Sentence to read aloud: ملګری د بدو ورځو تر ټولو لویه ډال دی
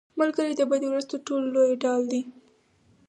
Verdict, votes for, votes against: accepted, 4, 2